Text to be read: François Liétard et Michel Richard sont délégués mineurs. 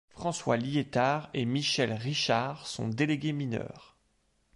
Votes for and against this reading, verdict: 2, 0, accepted